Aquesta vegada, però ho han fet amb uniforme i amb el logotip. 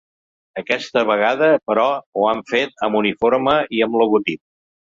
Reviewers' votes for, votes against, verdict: 0, 2, rejected